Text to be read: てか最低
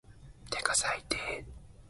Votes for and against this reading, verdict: 5, 2, accepted